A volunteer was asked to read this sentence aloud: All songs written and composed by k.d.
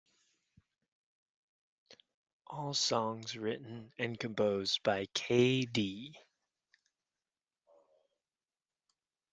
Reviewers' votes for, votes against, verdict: 2, 0, accepted